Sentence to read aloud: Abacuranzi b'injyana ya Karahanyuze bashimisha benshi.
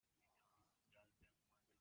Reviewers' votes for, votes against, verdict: 0, 2, rejected